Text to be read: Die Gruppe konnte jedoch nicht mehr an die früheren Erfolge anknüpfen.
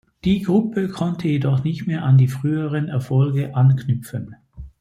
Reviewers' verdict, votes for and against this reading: accepted, 2, 0